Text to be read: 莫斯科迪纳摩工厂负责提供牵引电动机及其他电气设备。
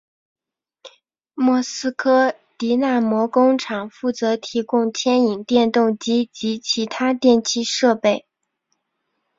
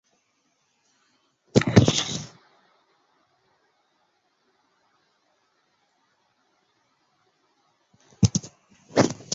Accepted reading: first